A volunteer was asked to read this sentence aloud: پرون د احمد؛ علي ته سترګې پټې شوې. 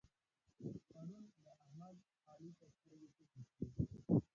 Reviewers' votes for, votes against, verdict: 0, 2, rejected